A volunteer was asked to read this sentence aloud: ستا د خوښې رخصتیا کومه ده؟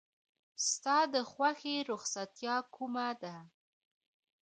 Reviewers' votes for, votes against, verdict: 2, 1, accepted